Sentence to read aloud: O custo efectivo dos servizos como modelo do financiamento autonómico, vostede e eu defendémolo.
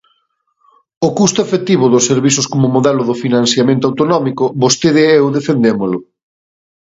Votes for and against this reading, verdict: 2, 0, accepted